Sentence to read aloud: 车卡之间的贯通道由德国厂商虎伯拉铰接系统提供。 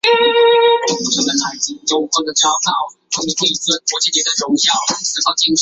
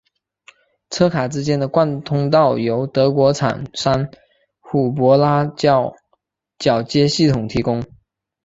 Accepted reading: second